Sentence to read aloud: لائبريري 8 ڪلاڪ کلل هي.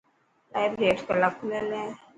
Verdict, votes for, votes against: rejected, 0, 2